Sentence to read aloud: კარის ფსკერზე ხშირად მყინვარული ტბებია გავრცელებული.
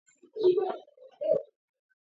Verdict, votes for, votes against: rejected, 0, 2